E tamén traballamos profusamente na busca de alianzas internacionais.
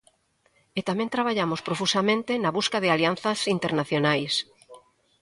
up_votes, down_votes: 2, 0